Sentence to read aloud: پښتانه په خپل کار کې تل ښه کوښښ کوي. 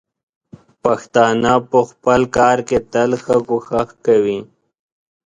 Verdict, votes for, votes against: accepted, 2, 0